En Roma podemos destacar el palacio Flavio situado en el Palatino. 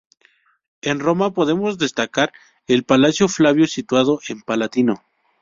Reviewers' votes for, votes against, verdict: 0, 2, rejected